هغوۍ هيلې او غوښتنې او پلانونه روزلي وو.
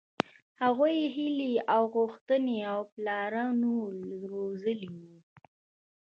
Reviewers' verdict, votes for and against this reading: rejected, 0, 2